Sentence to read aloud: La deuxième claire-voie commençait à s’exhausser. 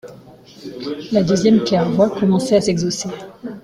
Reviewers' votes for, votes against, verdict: 2, 1, accepted